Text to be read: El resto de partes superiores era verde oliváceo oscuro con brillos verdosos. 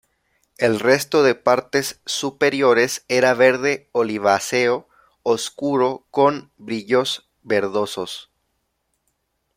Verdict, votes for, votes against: accepted, 2, 0